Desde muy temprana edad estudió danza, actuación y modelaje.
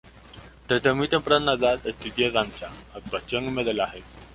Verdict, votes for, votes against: accepted, 2, 0